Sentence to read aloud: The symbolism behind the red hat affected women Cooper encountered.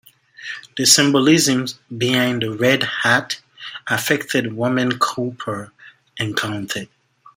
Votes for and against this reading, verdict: 0, 2, rejected